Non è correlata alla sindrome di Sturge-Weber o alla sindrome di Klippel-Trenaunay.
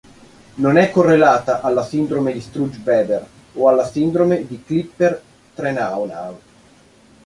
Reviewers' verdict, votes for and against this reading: rejected, 1, 2